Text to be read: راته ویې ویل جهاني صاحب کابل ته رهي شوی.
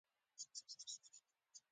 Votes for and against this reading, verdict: 1, 2, rejected